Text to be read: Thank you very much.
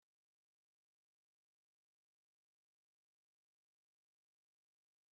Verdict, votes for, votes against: rejected, 0, 3